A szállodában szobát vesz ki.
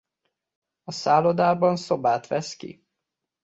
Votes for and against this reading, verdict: 2, 0, accepted